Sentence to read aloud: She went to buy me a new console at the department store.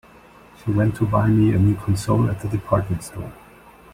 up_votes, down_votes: 2, 1